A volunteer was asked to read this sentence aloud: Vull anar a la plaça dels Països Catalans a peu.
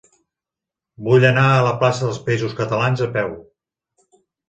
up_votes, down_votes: 2, 0